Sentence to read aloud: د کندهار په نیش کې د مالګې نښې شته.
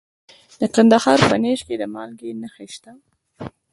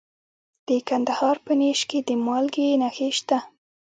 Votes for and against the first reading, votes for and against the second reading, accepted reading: 2, 1, 0, 2, first